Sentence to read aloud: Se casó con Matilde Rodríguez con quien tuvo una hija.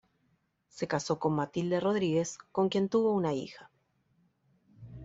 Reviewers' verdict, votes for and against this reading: accepted, 2, 0